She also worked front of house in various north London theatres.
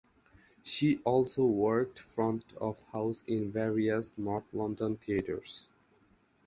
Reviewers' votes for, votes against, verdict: 2, 0, accepted